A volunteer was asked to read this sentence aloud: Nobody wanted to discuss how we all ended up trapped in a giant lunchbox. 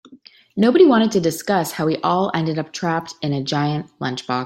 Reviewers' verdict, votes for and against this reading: rejected, 1, 2